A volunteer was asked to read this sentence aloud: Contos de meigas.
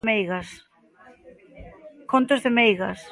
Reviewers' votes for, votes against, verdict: 0, 2, rejected